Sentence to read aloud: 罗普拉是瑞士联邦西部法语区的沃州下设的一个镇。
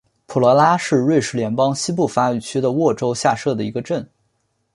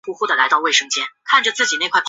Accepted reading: first